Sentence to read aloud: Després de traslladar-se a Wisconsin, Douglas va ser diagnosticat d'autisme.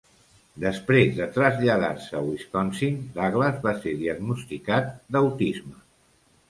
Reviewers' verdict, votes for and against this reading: accepted, 2, 0